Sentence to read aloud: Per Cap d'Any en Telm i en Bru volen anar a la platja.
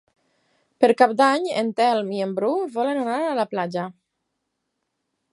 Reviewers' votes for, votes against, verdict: 8, 0, accepted